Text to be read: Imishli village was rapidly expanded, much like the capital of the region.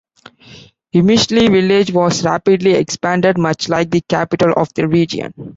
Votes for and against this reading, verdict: 0, 2, rejected